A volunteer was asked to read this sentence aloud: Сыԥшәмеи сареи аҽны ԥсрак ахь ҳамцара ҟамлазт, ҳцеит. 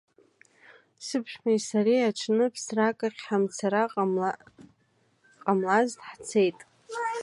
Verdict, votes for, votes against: rejected, 1, 2